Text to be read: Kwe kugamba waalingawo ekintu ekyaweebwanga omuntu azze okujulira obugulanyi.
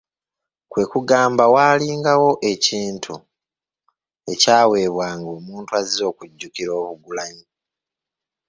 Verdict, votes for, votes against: rejected, 0, 2